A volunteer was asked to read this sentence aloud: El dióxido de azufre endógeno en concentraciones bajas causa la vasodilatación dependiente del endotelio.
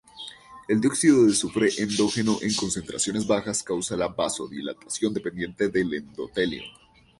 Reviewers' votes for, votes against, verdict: 0, 2, rejected